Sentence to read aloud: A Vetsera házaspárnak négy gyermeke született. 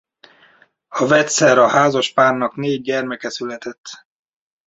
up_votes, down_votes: 2, 0